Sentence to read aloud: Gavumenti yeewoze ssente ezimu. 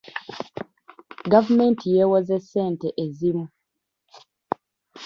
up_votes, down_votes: 2, 1